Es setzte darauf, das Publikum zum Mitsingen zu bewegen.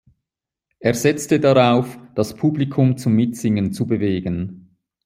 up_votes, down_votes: 2, 0